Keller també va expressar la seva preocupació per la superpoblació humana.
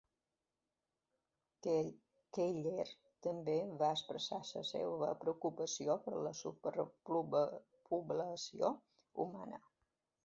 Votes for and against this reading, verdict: 0, 2, rejected